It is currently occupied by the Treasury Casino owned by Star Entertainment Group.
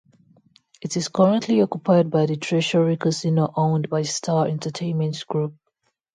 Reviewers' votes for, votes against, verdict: 2, 0, accepted